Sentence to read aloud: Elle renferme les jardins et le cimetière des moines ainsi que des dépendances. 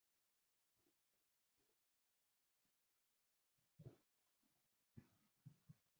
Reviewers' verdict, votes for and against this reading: rejected, 0, 2